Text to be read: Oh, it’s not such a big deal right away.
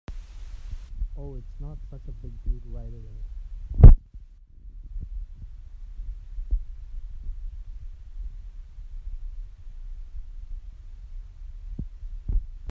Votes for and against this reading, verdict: 1, 2, rejected